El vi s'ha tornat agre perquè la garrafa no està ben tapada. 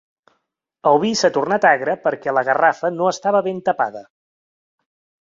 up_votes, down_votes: 2, 3